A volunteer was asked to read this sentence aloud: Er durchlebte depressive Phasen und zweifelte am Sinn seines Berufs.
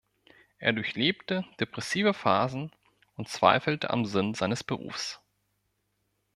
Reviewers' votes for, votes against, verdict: 2, 0, accepted